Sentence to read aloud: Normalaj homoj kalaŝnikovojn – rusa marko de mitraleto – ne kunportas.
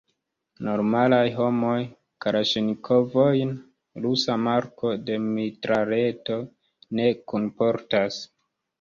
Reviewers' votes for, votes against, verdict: 1, 2, rejected